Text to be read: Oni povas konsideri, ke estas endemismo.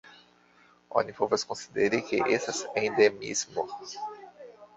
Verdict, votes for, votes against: accepted, 2, 1